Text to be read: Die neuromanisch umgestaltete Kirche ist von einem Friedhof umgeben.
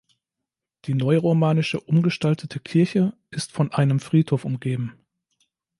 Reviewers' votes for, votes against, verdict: 1, 2, rejected